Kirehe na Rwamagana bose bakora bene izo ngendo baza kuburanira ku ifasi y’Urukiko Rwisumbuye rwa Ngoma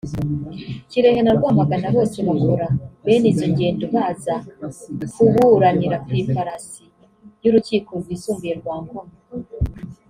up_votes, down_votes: 0, 2